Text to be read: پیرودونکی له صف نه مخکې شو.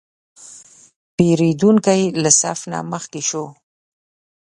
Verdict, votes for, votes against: accepted, 2, 0